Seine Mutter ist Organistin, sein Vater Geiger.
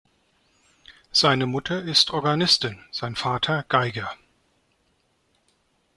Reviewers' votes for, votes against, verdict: 2, 0, accepted